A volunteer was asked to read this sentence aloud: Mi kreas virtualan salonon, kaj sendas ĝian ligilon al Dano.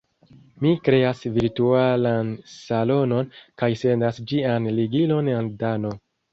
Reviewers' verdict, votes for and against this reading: accepted, 2, 0